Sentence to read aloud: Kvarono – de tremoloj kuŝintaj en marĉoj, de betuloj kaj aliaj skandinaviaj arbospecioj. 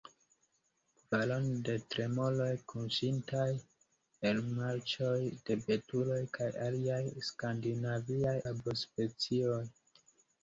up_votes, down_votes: 1, 2